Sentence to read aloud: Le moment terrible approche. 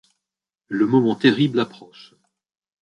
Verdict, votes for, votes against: accepted, 2, 0